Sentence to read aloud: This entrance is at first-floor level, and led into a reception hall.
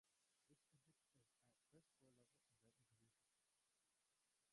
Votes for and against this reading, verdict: 0, 2, rejected